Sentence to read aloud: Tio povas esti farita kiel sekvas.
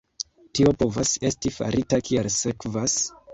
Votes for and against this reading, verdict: 1, 2, rejected